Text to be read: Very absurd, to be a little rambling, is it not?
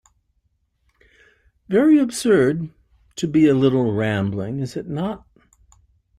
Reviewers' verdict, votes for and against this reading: accepted, 2, 0